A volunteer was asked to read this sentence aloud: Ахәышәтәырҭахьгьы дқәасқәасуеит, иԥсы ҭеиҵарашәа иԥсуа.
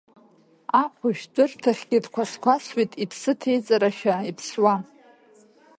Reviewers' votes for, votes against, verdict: 0, 2, rejected